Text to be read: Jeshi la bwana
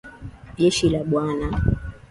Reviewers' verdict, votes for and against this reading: accepted, 2, 0